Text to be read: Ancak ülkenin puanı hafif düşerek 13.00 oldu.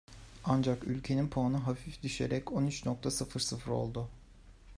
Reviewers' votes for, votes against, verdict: 0, 2, rejected